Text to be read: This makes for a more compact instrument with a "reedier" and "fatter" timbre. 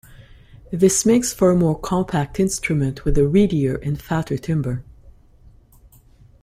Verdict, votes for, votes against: rejected, 1, 2